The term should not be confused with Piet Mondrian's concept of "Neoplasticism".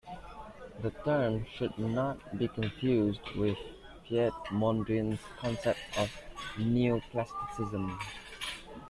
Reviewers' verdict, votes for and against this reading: accepted, 2, 0